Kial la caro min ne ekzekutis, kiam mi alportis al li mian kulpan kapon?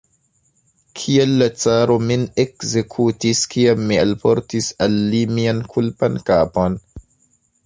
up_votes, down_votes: 1, 2